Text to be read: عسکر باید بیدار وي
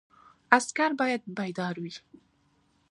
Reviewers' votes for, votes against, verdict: 3, 1, accepted